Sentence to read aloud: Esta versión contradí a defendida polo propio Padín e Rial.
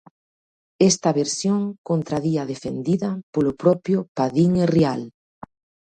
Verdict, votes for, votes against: accepted, 2, 0